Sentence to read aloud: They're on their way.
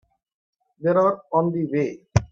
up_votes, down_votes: 3, 8